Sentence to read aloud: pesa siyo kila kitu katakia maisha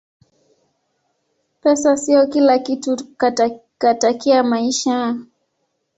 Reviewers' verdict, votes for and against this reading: rejected, 1, 2